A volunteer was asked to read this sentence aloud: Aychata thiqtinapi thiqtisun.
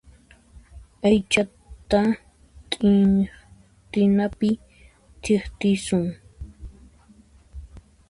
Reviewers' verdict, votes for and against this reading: rejected, 0, 2